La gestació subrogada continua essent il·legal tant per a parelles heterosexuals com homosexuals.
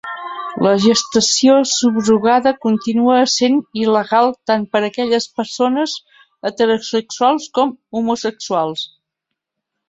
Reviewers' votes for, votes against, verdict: 0, 2, rejected